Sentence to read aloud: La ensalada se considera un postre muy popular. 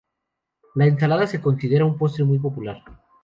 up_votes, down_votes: 2, 0